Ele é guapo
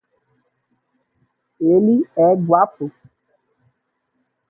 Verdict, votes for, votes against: rejected, 0, 2